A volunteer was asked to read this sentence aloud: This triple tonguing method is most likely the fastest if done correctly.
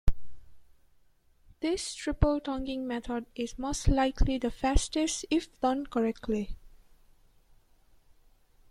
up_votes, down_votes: 2, 0